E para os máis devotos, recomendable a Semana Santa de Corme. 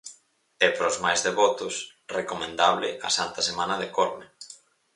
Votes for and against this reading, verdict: 2, 2, rejected